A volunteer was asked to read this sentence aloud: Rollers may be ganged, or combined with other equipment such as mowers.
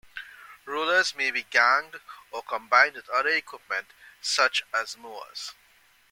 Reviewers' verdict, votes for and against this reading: rejected, 1, 2